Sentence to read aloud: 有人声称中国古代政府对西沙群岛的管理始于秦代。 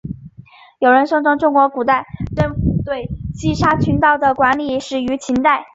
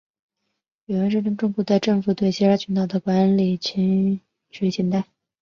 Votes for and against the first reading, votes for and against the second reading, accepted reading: 2, 1, 1, 3, first